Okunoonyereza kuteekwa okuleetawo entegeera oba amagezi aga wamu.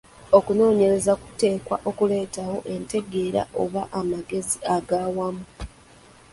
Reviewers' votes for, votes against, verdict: 2, 0, accepted